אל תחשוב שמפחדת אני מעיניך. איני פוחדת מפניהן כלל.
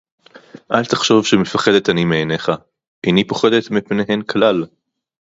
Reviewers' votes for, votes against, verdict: 4, 0, accepted